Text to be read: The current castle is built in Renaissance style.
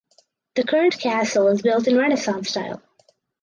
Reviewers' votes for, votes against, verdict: 2, 2, rejected